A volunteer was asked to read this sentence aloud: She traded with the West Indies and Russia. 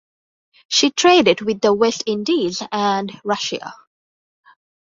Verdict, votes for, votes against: accepted, 3, 0